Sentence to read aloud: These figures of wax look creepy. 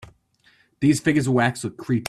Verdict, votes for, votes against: rejected, 0, 3